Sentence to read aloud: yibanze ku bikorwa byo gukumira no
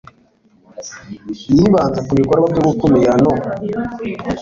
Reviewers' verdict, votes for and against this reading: accepted, 2, 0